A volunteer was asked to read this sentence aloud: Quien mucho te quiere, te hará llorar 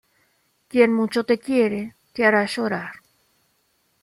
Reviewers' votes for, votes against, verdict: 2, 1, accepted